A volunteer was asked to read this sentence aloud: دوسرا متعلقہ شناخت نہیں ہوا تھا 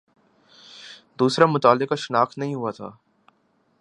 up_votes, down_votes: 2, 1